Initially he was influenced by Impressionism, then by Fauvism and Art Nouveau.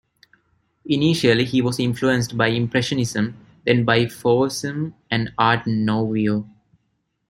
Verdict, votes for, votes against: rejected, 0, 2